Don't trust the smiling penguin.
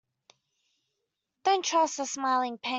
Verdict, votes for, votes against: rejected, 0, 2